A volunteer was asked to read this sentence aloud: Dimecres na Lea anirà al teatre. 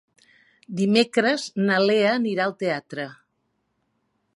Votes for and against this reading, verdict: 3, 0, accepted